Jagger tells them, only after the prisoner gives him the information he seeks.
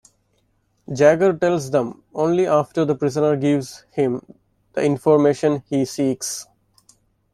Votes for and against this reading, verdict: 2, 0, accepted